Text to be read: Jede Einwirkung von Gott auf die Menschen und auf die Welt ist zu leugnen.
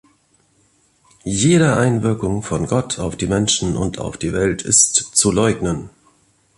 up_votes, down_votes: 2, 0